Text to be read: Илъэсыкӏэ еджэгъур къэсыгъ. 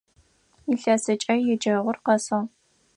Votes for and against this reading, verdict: 4, 0, accepted